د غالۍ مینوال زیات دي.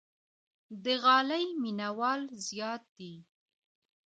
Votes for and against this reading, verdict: 2, 0, accepted